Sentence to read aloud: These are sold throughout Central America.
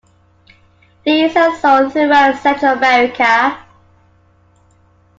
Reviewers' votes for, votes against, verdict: 2, 0, accepted